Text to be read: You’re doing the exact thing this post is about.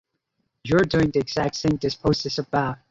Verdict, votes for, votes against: accepted, 2, 0